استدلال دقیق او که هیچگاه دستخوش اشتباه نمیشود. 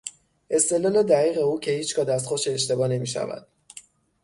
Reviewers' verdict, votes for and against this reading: rejected, 3, 3